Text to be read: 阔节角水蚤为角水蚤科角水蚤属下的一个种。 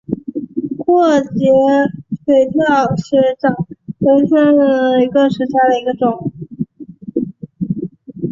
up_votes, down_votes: 2, 1